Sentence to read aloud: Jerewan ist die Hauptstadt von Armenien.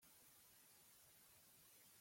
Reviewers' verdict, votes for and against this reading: rejected, 0, 2